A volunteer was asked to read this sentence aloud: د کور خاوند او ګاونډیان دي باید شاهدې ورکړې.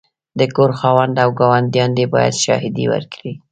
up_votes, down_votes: 2, 0